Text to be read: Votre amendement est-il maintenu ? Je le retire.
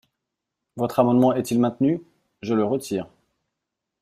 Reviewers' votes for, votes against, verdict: 2, 0, accepted